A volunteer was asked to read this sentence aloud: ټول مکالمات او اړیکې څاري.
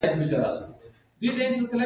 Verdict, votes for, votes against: rejected, 1, 2